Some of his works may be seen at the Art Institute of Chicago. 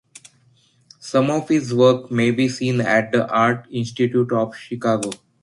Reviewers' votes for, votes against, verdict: 3, 3, rejected